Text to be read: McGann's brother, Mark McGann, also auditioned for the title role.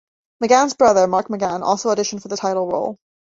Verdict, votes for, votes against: accepted, 2, 0